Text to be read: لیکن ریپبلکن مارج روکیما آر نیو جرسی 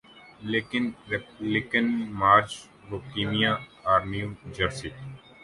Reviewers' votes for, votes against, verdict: 1, 2, rejected